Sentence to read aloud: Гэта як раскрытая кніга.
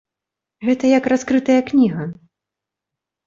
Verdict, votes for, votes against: accepted, 2, 0